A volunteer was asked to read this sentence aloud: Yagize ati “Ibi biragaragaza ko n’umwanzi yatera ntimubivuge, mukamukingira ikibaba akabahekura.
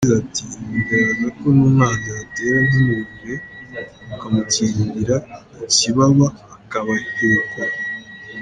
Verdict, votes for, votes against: rejected, 1, 2